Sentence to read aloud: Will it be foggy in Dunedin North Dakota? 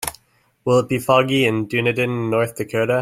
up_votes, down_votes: 2, 0